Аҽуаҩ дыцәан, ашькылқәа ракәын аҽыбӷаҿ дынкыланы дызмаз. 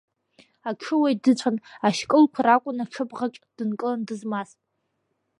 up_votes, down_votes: 2, 0